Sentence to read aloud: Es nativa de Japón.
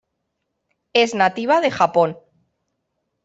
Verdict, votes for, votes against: accepted, 2, 0